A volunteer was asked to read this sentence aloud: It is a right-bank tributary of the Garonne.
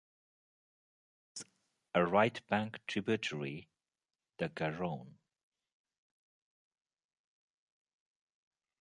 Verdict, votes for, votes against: rejected, 0, 2